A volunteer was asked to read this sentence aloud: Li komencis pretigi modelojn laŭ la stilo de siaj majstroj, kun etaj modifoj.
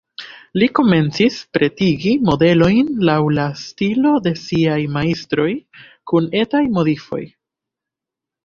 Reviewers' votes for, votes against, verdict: 1, 2, rejected